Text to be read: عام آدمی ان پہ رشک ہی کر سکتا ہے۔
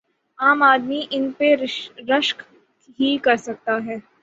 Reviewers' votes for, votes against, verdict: 39, 12, accepted